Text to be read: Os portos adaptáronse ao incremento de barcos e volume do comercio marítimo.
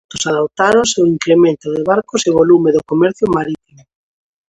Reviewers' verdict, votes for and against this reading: rejected, 0, 2